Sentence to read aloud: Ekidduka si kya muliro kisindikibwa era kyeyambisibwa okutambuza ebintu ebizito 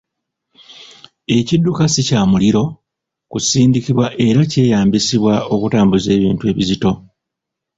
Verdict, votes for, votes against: rejected, 0, 2